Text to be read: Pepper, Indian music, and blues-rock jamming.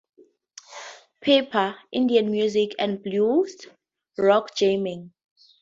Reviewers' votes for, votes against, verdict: 4, 2, accepted